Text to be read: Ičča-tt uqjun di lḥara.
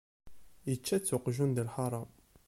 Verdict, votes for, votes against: accepted, 2, 0